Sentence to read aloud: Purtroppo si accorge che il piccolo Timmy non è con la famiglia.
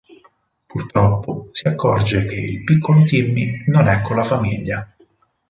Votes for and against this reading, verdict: 4, 0, accepted